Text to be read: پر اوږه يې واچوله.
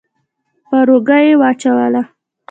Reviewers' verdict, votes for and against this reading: accepted, 2, 0